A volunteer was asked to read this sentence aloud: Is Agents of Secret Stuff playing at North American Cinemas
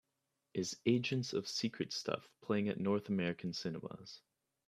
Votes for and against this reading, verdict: 3, 0, accepted